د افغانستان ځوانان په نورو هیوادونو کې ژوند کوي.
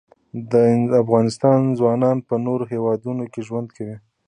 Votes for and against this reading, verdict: 2, 0, accepted